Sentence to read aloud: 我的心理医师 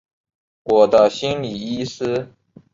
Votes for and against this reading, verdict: 2, 0, accepted